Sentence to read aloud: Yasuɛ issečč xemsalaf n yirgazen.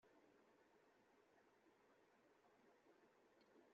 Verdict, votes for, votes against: rejected, 0, 2